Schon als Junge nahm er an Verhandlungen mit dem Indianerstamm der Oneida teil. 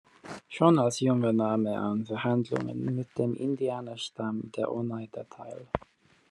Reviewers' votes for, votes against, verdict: 2, 1, accepted